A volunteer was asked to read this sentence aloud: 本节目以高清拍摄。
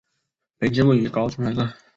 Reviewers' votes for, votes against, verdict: 1, 2, rejected